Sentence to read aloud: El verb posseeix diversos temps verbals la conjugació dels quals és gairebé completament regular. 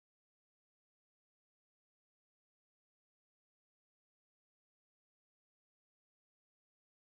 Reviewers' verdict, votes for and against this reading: rejected, 0, 3